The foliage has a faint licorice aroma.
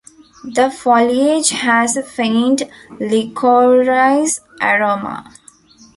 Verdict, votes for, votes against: rejected, 1, 2